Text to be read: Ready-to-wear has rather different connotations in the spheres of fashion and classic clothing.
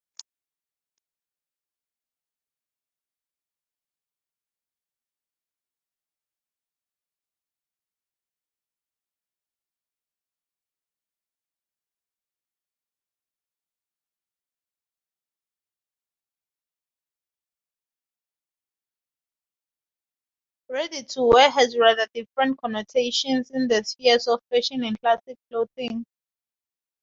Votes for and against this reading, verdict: 0, 2, rejected